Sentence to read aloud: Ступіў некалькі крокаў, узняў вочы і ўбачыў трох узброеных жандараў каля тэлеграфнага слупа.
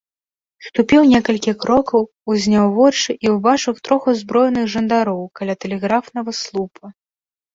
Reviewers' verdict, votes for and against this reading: rejected, 1, 2